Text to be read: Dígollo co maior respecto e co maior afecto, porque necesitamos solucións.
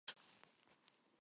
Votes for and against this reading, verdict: 0, 4, rejected